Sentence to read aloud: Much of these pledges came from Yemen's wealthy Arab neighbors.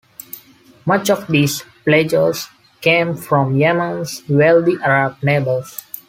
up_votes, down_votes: 2, 0